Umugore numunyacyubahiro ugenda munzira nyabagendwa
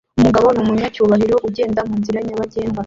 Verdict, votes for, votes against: accepted, 2, 1